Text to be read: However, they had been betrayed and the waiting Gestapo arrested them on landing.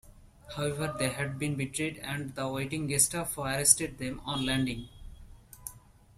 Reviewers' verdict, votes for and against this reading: accepted, 2, 0